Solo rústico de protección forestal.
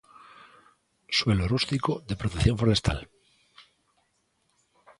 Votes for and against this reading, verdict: 0, 2, rejected